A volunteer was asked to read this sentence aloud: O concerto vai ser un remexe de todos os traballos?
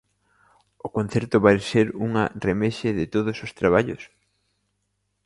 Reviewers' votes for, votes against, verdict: 0, 2, rejected